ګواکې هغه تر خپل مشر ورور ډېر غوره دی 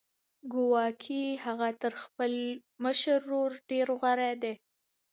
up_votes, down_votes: 3, 2